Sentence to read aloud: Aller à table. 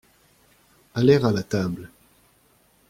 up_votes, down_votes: 0, 2